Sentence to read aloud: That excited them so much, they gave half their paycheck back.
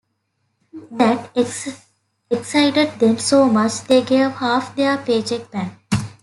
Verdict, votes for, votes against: accepted, 3, 2